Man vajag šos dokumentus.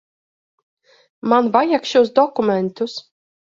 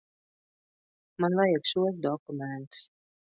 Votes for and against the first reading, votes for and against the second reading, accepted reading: 2, 0, 1, 2, first